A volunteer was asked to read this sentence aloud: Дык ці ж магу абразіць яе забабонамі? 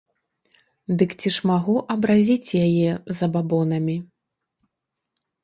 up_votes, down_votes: 1, 3